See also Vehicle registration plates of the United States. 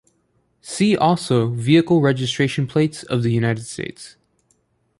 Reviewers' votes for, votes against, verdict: 1, 2, rejected